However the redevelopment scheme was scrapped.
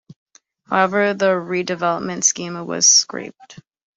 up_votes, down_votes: 0, 2